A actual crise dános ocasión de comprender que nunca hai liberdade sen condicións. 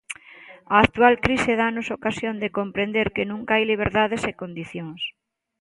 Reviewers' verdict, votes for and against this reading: accepted, 2, 0